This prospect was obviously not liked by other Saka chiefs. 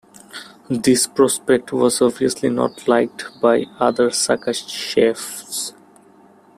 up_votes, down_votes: 2, 1